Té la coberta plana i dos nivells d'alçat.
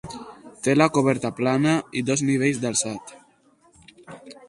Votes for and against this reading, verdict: 2, 0, accepted